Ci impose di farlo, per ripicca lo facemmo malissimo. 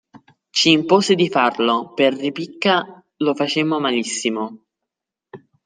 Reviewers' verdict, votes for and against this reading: accepted, 2, 0